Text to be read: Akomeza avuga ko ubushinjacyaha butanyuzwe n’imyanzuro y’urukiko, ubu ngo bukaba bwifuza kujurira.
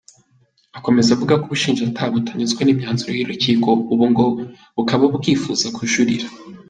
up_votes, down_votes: 2, 1